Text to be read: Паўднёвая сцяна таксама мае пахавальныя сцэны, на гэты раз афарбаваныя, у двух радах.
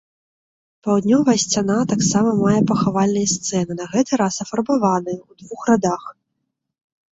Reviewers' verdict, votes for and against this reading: accepted, 2, 0